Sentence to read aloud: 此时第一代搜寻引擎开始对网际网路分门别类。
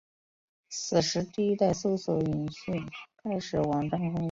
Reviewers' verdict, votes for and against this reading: rejected, 1, 4